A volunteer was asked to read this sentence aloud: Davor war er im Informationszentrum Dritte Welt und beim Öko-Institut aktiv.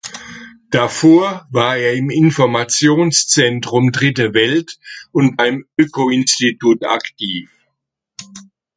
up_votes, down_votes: 2, 0